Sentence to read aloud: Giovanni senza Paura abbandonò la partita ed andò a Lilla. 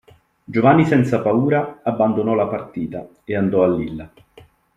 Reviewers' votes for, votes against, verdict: 2, 0, accepted